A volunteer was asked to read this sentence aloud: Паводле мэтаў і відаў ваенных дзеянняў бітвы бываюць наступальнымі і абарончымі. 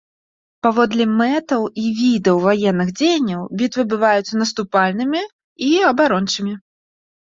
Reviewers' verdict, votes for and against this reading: accepted, 2, 0